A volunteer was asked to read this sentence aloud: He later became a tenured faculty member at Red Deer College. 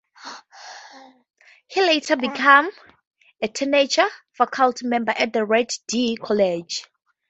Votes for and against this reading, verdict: 0, 2, rejected